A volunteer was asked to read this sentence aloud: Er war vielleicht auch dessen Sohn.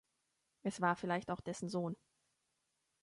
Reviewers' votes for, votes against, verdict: 0, 2, rejected